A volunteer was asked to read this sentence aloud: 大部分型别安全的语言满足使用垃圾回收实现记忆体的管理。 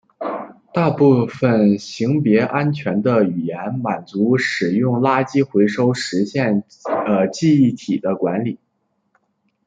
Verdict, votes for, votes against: accepted, 2, 1